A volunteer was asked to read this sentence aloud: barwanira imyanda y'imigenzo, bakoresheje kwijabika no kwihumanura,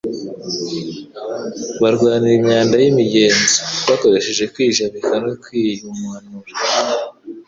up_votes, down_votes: 3, 0